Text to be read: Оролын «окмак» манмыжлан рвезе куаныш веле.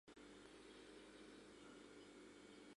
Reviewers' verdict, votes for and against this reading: accepted, 2, 1